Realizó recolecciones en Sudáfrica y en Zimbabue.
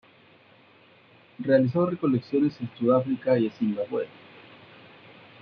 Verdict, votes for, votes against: rejected, 1, 2